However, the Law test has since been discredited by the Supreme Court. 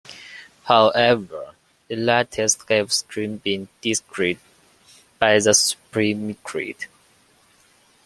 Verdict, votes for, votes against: rejected, 0, 2